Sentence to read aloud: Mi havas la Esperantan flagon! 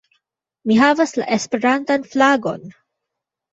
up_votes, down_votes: 1, 2